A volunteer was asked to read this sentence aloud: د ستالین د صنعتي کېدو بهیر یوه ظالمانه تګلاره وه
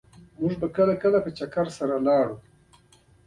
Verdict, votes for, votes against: accepted, 2, 0